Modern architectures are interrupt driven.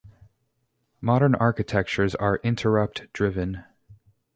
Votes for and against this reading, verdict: 0, 2, rejected